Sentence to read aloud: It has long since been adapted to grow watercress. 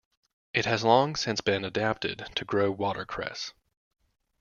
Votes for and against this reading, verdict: 2, 0, accepted